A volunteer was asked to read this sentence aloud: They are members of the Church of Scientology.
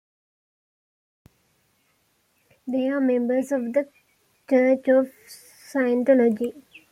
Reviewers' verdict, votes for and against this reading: accepted, 2, 0